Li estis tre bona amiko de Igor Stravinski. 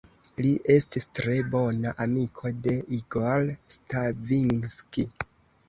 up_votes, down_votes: 1, 3